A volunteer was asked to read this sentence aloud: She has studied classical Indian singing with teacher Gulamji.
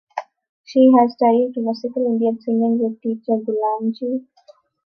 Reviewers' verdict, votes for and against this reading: rejected, 1, 2